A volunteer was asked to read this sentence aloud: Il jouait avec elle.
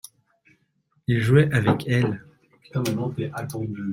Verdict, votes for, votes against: rejected, 0, 2